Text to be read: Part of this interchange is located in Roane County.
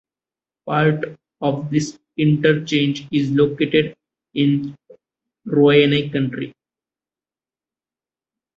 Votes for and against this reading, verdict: 0, 2, rejected